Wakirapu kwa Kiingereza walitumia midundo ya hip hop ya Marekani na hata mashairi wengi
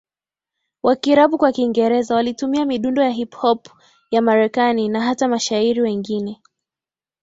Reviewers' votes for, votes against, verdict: 0, 2, rejected